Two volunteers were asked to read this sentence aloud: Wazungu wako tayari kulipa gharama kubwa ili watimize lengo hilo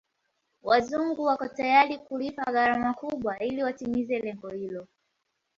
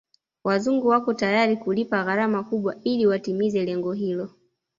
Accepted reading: first